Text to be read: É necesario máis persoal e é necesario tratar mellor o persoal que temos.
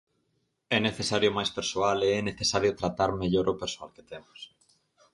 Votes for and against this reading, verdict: 4, 0, accepted